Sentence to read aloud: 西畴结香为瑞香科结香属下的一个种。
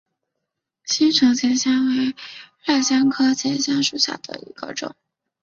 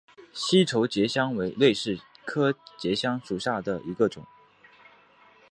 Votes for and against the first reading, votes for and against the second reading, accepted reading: 1, 3, 8, 0, second